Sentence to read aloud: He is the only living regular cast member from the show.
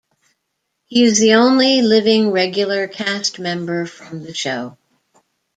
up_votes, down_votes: 2, 0